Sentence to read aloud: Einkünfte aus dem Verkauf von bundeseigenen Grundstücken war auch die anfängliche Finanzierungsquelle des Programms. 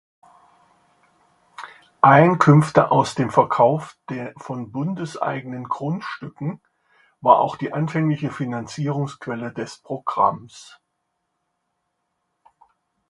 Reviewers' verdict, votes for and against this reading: rejected, 1, 2